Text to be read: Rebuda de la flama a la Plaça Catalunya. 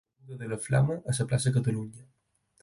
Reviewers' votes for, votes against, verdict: 0, 4, rejected